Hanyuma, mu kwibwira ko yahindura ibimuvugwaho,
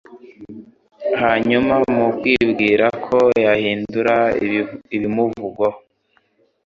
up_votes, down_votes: 1, 2